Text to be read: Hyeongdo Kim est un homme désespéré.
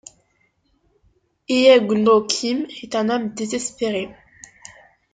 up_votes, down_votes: 1, 2